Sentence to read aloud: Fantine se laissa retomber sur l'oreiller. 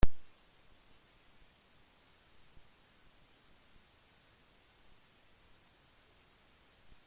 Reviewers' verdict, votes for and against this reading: rejected, 0, 2